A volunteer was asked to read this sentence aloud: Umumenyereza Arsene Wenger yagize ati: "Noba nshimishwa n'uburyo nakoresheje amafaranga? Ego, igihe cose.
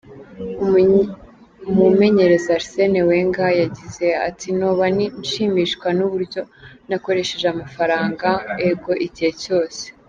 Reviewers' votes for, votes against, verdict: 0, 2, rejected